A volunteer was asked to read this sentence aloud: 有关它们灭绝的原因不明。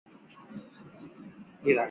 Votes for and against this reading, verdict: 0, 2, rejected